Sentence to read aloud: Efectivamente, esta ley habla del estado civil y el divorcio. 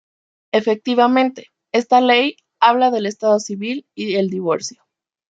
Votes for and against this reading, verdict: 0, 2, rejected